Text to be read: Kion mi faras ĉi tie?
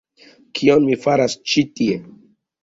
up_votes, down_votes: 2, 0